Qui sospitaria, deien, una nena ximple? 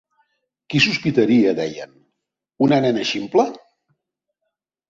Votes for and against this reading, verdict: 3, 0, accepted